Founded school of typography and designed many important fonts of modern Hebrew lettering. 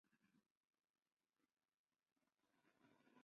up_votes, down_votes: 0, 2